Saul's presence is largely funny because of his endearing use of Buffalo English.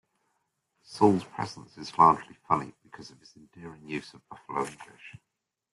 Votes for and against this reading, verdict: 0, 2, rejected